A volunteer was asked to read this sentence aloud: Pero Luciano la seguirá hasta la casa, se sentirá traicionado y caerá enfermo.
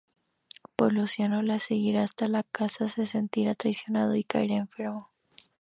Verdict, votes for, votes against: rejected, 2, 2